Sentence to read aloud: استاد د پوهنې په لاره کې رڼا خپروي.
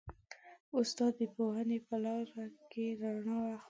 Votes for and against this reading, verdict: 1, 5, rejected